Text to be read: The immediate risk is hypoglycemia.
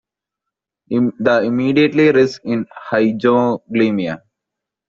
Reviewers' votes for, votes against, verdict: 0, 2, rejected